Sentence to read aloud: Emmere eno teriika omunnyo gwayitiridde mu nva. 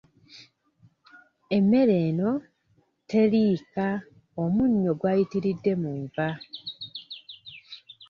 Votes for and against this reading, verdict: 0, 2, rejected